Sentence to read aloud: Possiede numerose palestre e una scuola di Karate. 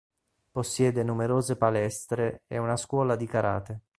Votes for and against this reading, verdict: 4, 0, accepted